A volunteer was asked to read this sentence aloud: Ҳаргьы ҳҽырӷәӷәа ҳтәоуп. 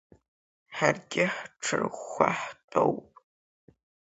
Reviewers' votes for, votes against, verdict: 2, 0, accepted